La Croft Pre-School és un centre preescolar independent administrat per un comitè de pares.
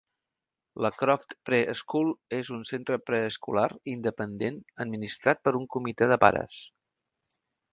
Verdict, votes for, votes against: accepted, 2, 0